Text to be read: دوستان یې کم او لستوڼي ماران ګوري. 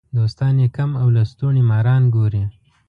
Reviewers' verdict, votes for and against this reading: accepted, 2, 0